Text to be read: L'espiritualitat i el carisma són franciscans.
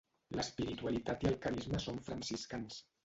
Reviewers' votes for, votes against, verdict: 0, 2, rejected